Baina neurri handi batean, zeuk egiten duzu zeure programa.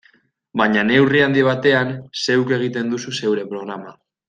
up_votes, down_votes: 2, 0